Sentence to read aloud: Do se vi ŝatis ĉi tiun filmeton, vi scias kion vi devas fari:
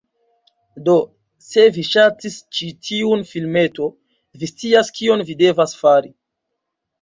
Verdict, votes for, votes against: accepted, 2, 1